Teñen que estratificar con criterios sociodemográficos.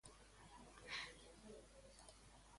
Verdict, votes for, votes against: rejected, 0, 2